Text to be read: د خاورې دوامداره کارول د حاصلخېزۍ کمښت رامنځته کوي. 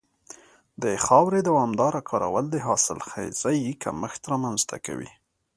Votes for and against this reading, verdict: 2, 0, accepted